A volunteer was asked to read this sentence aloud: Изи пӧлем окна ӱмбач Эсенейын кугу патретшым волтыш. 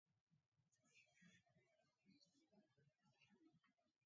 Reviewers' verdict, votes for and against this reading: rejected, 0, 2